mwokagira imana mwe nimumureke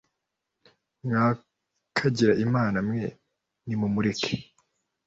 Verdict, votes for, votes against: rejected, 0, 2